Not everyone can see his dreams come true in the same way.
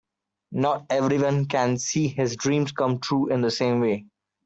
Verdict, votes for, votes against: accepted, 3, 0